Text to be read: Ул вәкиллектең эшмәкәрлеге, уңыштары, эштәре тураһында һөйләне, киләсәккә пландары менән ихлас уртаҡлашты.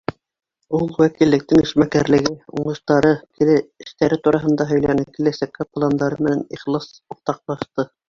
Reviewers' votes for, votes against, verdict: 1, 3, rejected